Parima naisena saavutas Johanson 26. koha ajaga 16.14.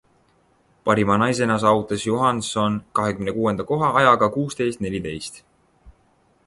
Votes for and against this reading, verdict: 0, 2, rejected